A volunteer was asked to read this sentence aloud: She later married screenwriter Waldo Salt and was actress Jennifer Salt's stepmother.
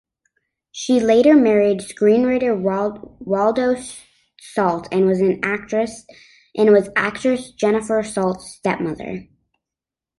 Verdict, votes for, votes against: rejected, 1, 2